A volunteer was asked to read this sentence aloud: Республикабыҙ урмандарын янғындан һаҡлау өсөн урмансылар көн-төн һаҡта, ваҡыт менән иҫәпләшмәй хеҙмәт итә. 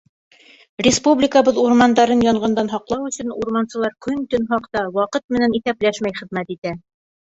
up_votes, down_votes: 2, 0